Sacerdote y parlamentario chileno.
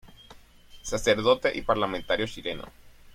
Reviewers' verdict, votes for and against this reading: accepted, 2, 0